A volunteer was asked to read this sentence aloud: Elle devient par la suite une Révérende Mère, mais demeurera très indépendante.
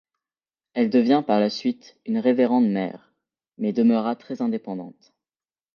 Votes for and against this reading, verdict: 1, 2, rejected